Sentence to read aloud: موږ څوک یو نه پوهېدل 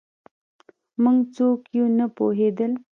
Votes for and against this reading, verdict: 2, 0, accepted